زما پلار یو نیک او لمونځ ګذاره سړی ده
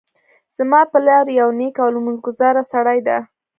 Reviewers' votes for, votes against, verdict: 1, 2, rejected